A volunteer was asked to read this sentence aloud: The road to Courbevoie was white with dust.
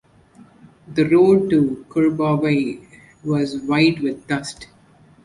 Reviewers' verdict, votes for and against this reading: rejected, 1, 2